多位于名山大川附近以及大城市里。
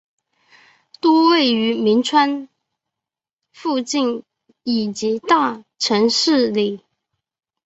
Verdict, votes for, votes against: rejected, 2, 2